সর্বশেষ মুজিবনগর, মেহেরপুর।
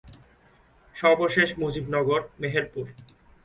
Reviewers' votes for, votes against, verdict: 2, 0, accepted